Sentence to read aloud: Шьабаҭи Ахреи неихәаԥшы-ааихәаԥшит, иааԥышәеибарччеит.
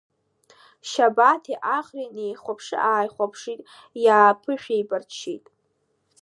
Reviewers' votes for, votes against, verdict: 2, 0, accepted